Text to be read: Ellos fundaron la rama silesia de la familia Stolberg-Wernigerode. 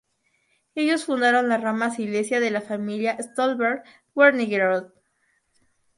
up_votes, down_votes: 0, 2